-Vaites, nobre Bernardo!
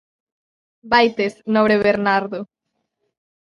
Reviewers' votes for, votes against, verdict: 0, 2, rejected